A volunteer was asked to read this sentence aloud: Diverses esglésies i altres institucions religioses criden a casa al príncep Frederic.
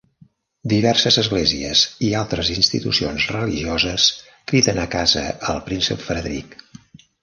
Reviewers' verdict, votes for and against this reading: accepted, 2, 1